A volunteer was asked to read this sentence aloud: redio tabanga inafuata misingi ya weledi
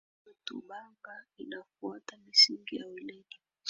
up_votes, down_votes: 1, 4